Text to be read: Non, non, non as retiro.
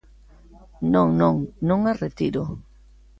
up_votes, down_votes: 2, 0